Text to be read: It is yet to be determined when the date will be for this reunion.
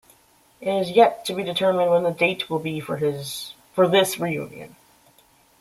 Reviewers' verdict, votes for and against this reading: rejected, 0, 2